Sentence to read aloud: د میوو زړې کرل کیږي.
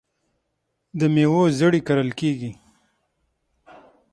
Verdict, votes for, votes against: rejected, 3, 6